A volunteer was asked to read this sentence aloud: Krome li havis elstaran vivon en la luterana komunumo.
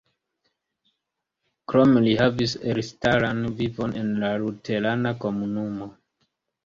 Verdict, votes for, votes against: rejected, 1, 2